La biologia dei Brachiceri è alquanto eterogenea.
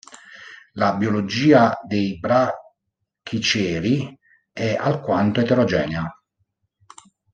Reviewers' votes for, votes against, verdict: 1, 2, rejected